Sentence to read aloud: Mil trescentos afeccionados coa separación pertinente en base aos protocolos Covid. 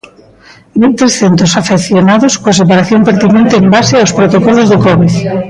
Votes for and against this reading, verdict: 0, 3, rejected